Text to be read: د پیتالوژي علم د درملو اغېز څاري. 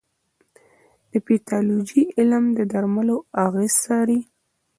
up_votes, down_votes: 0, 2